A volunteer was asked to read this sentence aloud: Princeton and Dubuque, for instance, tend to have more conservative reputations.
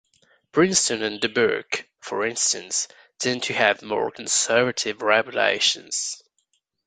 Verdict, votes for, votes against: rejected, 0, 2